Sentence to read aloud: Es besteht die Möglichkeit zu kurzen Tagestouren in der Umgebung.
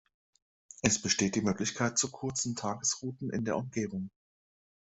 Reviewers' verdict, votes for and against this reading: rejected, 0, 2